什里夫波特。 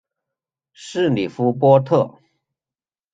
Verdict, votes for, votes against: rejected, 1, 2